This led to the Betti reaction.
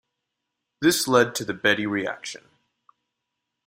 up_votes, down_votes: 2, 1